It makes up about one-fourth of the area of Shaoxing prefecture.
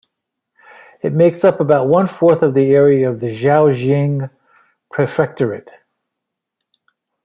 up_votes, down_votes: 1, 2